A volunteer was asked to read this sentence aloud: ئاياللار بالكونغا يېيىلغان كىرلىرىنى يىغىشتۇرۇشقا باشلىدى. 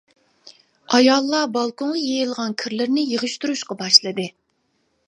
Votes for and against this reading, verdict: 2, 1, accepted